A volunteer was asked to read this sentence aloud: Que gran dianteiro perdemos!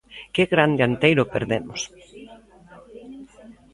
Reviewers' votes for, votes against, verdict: 1, 2, rejected